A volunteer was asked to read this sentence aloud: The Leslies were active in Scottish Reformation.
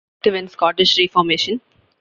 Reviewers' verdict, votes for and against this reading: rejected, 0, 2